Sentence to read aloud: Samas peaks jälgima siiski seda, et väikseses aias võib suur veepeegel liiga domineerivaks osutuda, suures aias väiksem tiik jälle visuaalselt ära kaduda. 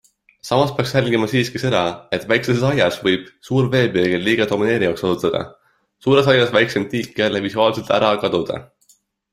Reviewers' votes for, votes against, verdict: 2, 0, accepted